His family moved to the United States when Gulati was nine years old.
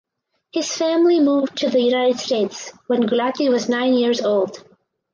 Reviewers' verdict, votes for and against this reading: accepted, 4, 0